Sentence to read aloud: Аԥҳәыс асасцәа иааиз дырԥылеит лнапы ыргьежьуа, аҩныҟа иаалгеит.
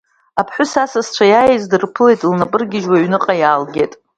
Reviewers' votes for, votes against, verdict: 2, 0, accepted